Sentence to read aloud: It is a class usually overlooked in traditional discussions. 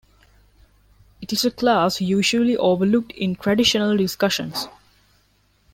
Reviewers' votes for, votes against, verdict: 2, 0, accepted